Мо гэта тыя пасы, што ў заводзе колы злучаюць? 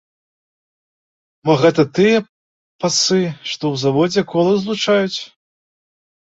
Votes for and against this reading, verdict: 0, 2, rejected